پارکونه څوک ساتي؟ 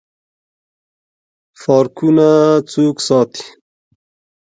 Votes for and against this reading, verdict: 1, 2, rejected